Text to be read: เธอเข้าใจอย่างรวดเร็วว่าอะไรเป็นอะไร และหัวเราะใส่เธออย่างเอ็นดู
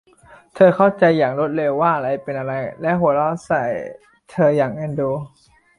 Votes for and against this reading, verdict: 2, 0, accepted